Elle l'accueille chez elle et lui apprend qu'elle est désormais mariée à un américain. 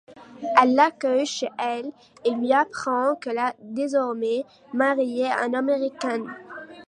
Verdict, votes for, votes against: rejected, 0, 2